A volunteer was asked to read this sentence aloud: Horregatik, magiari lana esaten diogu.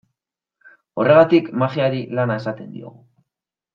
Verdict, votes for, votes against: accepted, 2, 0